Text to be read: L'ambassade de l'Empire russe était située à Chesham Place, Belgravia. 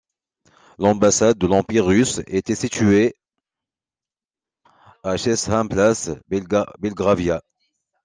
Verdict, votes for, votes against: rejected, 1, 2